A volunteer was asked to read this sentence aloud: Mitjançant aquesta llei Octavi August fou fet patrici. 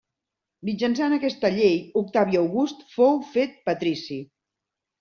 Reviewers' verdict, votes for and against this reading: accepted, 2, 0